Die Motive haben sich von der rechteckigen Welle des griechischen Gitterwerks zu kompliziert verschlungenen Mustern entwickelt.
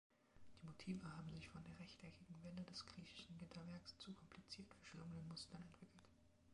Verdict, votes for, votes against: rejected, 1, 2